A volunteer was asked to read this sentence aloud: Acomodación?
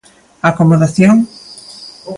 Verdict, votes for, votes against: accepted, 2, 0